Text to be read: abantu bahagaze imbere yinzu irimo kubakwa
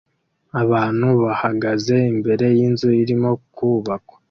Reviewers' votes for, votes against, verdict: 2, 0, accepted